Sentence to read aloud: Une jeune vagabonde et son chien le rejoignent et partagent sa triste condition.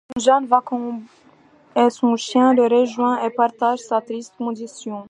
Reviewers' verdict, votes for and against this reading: rejected, 1, 2